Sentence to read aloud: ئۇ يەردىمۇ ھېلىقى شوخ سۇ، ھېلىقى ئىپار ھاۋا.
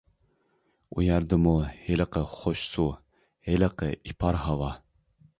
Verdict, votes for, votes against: rejected, 0, 2